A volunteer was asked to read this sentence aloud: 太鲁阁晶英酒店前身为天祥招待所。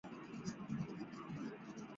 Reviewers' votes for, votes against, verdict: 1, 3, rejected